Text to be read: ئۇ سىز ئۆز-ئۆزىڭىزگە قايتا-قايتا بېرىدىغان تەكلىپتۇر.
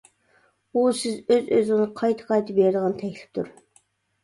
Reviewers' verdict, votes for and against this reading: rejected, 1, 2